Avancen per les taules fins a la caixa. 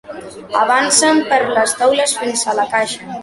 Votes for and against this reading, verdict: 2, 0, accepted